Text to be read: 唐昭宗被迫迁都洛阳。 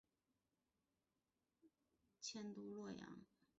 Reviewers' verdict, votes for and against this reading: rejected, 0, 2